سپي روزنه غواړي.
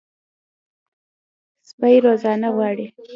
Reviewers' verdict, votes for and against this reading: accepted, 2, 0